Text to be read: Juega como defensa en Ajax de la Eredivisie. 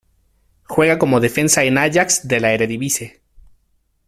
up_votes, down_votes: 2, 0